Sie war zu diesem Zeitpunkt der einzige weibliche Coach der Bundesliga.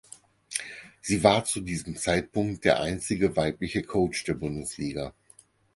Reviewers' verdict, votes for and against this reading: accepted, 4, 0